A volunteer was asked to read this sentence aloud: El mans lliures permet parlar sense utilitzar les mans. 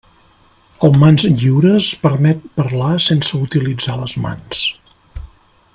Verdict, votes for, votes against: accepted, 3, 0